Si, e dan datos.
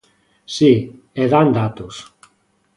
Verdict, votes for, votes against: accepted, 2, 0